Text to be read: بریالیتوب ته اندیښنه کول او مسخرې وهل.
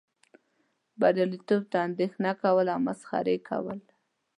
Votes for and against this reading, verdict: 1, 2, rejected